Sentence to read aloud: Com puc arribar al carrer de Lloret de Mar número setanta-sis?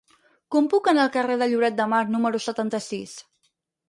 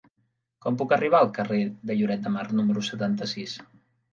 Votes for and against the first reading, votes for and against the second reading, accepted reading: 2, 4, 3, 0, second